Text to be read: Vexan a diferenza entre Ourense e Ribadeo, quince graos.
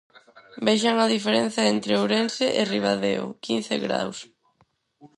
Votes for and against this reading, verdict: 4, 0, accepted